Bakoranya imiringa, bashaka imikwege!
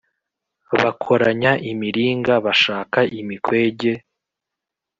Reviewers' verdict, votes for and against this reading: accepted, 2, 0